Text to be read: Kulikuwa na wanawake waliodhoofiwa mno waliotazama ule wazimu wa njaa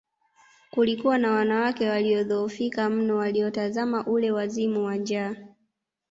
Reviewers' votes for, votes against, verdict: 1, 2, rejected